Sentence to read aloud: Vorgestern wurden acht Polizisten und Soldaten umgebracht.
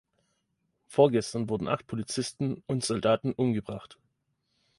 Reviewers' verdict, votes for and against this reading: accepted, 2, 0